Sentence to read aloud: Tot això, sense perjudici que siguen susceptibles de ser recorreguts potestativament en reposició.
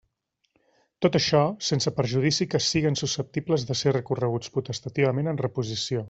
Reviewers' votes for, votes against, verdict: 2, 1, accepted